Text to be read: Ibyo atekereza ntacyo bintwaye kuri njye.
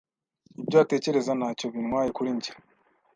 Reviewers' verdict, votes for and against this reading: accepted, 2, 0